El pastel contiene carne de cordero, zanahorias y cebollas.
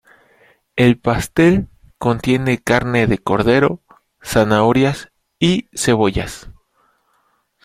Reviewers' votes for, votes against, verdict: 2, 0, accepted